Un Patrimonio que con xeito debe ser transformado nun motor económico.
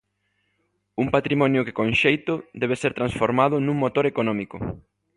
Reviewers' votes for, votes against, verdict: 2, 0, accepted